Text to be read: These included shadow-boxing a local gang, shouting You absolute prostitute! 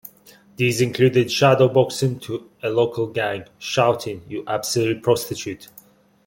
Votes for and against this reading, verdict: 2, 1, accepted